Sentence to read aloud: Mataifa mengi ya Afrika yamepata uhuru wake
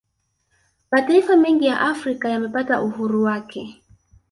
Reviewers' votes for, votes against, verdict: 2, 0, accepted